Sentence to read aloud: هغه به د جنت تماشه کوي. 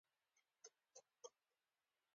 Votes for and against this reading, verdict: 2, 1, accepted